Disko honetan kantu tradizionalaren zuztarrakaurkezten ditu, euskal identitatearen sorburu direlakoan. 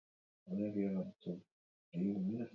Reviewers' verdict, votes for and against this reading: rejected, 0, 2